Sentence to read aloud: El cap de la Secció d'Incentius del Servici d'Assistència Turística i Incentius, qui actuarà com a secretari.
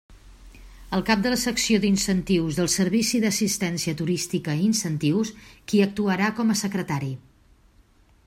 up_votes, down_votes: 3, 0